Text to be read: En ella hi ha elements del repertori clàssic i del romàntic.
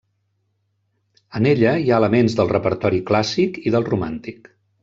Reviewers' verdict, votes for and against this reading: accepted, 3, 0